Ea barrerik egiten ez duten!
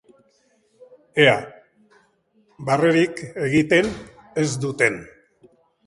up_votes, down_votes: 3, 1